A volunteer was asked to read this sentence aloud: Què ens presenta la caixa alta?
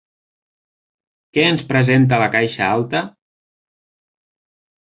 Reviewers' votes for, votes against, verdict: 3, 0, accepted